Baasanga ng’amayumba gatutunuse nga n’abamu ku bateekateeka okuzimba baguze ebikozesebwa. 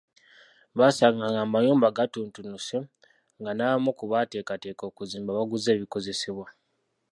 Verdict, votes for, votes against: rejected, 1, 2